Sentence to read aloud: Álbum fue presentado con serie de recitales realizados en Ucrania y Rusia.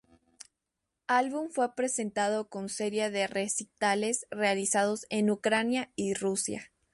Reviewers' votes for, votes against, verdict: 2, 0, accepted